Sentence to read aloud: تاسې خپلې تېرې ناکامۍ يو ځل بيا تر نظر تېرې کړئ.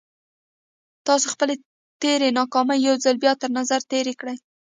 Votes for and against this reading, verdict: 2, 0, accepted